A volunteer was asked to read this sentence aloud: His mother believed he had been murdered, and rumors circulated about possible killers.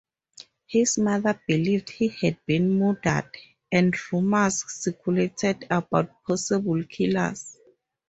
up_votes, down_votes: 2, 4